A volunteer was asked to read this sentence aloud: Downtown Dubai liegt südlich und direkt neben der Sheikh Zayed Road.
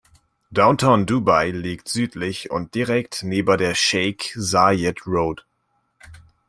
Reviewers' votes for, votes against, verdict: 0, 2, rejected